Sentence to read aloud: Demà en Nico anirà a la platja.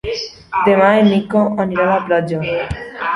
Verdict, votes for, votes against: accepted, 2, 0